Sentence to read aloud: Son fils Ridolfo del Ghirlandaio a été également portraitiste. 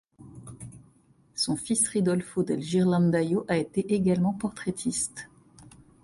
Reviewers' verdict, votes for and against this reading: accepted, 2, 1